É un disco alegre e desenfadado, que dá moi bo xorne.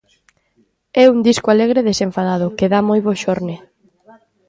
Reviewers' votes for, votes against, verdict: 2, 0, accepted